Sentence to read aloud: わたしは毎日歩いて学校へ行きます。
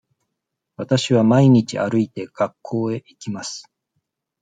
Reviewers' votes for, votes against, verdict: 2, 0, accepted